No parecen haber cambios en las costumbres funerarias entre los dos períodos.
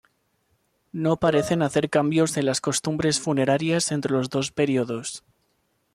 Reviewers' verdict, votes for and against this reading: accepted, 2, 0